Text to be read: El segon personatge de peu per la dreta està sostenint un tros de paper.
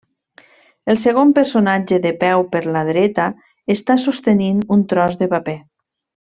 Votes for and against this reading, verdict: 3, 0, accepted